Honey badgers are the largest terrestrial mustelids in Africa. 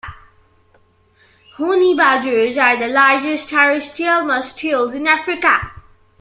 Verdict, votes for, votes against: accepted, 2, 1